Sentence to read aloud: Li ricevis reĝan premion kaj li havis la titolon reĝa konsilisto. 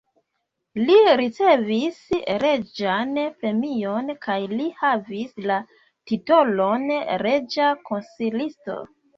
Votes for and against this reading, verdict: 0, 2, rejected